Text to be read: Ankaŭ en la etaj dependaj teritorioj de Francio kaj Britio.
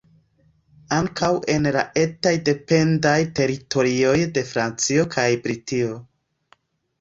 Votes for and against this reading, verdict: 2, 0, accepted